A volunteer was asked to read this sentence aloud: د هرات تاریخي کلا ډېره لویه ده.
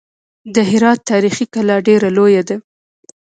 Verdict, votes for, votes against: rejected, 1, 2